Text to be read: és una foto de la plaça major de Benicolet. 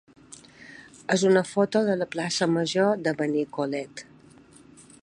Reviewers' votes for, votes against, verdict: 3, 0, accepted